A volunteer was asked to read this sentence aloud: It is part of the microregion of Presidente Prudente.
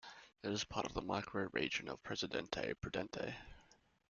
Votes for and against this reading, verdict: 2, 0, accepted